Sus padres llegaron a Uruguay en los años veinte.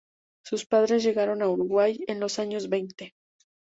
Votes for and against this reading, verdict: 2, 0, accepted